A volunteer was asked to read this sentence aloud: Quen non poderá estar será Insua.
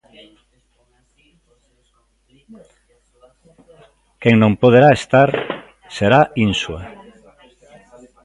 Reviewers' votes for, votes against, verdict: 1, 2, rejected